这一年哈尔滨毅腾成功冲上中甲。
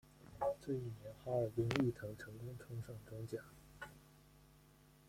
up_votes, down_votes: 0, 2